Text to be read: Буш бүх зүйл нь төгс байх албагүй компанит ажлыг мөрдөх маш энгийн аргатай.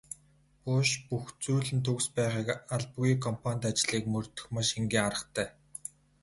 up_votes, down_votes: 2, 2